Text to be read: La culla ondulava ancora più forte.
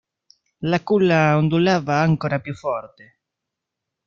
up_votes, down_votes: 0, 2